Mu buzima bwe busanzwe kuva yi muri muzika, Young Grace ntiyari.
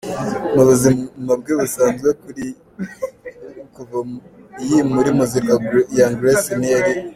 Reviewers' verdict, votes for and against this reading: rejected, 0, 2